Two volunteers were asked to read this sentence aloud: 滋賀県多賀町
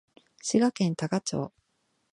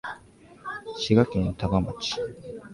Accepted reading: first